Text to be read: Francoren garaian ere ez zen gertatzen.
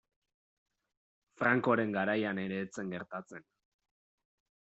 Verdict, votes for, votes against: accepted, 2, 0